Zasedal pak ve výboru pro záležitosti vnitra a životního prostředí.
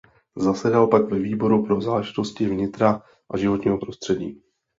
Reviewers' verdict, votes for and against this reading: accepted, 2, 0